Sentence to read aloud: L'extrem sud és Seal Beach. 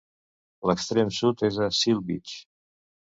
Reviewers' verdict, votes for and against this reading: rejected, 1, 2